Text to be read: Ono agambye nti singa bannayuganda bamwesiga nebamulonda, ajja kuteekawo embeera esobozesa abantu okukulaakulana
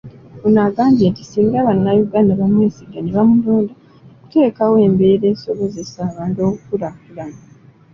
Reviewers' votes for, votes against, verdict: 2, 0, accepted